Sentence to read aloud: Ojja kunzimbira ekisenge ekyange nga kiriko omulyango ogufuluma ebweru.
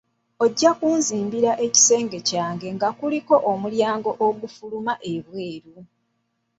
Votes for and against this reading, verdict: 1, 2, rejected